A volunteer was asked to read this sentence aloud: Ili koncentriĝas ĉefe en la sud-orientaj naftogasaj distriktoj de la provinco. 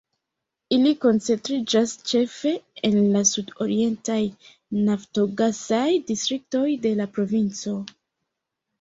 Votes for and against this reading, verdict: 0, 2, rejected